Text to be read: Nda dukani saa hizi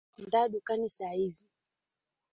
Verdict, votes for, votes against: accepted, 4, 0